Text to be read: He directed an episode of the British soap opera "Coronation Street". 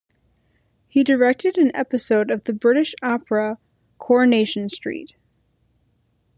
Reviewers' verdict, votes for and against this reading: rejected, 1, 2